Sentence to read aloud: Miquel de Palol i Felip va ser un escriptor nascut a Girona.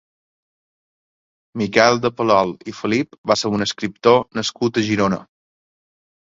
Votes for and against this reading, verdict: 2, 0, accepted